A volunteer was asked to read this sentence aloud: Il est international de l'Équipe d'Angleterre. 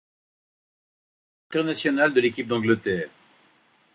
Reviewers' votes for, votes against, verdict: 0, 2, rejected